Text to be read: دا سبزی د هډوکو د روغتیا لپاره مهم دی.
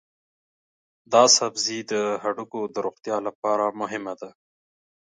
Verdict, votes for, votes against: accepted, 2, 0